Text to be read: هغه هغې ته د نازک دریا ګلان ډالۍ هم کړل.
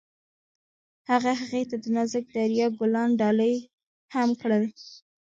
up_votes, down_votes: 2, 0